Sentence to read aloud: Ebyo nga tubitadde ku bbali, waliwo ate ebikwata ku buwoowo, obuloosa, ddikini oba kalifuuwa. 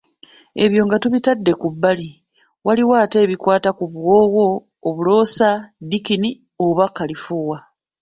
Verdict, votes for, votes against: accepted, 2, 0